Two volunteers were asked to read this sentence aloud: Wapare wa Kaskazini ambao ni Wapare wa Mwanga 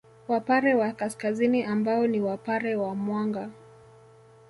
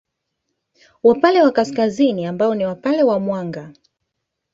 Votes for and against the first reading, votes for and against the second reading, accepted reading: 2, 1, 1, 2, first